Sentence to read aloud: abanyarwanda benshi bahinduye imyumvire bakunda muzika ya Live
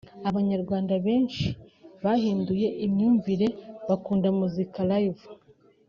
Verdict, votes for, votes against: rejected, 1, 2